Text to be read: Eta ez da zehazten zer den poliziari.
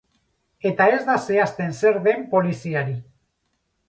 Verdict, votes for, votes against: rejected, 0, 2